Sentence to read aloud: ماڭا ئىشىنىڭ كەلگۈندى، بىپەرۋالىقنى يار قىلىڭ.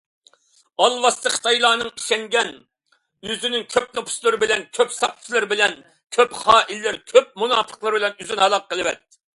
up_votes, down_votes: 0, 2